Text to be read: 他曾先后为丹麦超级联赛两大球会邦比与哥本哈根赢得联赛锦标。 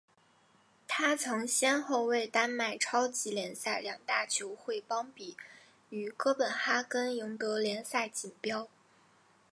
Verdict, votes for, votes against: accepted, 2, 0